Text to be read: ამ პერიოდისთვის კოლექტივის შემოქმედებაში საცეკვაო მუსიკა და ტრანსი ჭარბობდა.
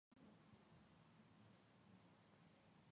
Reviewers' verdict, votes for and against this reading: rejected, 1, 2